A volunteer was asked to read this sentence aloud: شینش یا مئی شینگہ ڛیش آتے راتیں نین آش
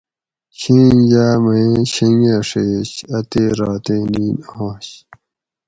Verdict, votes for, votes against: rejected, 2, 2